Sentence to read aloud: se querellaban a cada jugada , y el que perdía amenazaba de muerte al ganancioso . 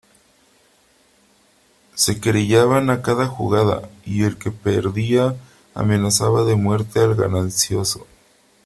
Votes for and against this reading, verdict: 3, 0, accepted